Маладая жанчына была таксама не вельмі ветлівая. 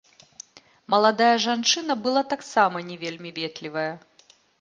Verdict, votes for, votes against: accepted, 2, 0